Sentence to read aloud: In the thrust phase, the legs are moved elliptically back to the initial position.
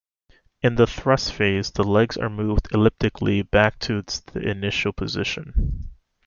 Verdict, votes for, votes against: rejected, 0, 2